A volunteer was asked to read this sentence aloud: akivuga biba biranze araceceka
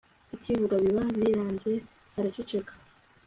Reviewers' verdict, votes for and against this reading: accepted, 2, 1